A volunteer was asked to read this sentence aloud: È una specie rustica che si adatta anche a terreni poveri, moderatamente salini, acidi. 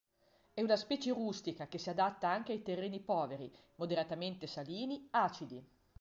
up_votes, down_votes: 0, 2